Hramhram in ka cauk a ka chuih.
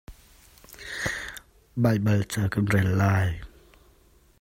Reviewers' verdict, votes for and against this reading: rejected, 1, 2